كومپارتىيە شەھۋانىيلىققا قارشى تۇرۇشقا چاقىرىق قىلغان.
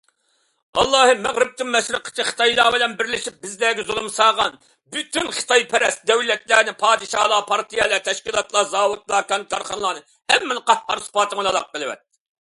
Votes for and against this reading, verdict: 0, 2, rejected